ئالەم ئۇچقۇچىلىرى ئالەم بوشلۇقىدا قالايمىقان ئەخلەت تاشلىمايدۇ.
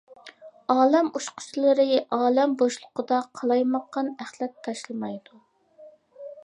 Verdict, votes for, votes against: accepted, 2, 0